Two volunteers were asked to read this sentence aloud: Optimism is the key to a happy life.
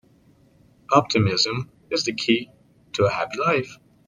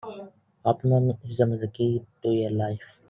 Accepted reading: first